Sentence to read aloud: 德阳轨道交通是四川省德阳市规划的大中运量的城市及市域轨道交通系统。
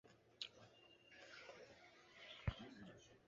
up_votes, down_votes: 0, 3